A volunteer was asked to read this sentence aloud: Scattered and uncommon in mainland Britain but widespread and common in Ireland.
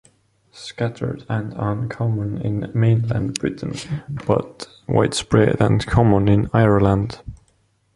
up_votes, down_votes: 2, 1